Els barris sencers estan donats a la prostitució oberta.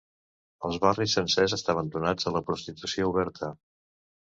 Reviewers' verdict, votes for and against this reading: rejected, 0, 2